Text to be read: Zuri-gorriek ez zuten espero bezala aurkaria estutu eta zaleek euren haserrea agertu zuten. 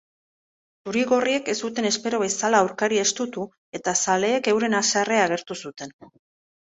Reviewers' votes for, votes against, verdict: 0, 2, rejected